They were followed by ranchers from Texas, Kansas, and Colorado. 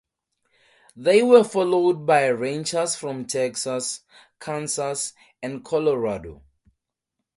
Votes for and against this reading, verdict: 2, 2, rejected